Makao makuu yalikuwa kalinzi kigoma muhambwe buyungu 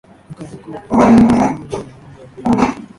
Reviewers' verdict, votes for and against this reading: rejected, 0, 3